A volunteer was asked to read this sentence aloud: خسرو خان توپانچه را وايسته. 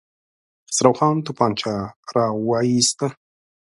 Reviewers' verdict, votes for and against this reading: rejected, 0, 2